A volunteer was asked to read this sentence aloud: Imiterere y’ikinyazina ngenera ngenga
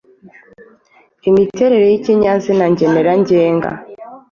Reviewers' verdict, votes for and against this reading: accepted, 2, 0